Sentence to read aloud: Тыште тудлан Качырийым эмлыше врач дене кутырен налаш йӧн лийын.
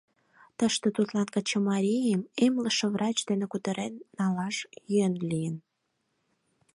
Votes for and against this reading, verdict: 2, 4, rejected